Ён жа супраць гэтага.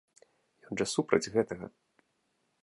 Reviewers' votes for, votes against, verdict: 1, 2, rejected